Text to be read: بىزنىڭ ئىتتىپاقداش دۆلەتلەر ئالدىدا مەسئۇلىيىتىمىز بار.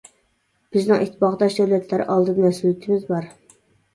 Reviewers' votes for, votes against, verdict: 0, 2, rejected